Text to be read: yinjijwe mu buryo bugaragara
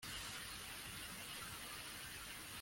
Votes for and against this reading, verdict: 0, 2, rejected